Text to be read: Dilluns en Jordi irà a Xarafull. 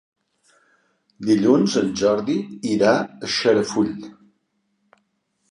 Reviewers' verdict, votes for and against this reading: accepted, 2, 0